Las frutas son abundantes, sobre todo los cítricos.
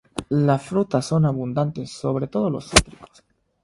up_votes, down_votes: 3, 0